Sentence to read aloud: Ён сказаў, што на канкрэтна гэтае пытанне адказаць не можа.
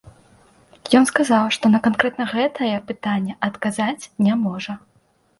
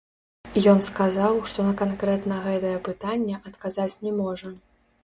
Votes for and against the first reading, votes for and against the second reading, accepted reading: 2, 0, 0, 2, first